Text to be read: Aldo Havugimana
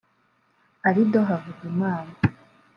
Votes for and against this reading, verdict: 0, 2, rejected